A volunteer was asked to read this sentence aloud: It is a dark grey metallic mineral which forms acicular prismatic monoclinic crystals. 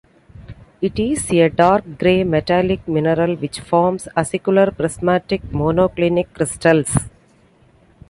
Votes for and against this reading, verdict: 2, 0, accepted